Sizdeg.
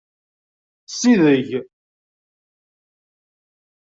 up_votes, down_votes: 0, 2